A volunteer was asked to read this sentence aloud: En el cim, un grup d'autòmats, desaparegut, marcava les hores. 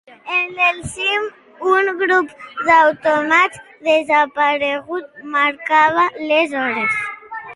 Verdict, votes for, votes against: rejected, 0, 2